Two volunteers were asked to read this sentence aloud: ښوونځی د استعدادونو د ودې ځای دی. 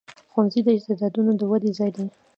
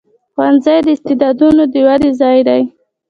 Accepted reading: second